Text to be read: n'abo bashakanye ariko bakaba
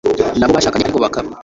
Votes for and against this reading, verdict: 1, 2, rejected